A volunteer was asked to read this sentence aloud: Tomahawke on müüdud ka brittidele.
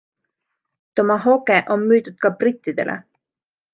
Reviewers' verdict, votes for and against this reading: accepted, 2, 0